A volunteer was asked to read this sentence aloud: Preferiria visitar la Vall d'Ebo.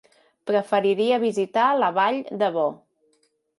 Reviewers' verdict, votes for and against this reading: rejected, 1, 2